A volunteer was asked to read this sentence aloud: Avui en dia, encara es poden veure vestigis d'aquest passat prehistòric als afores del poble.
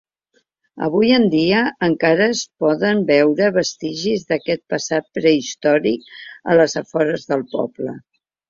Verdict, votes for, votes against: rejected, 1, 2